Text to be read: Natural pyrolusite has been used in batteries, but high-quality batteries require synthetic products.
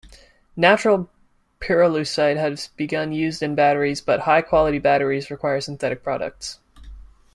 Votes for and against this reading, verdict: 0, 2, rejected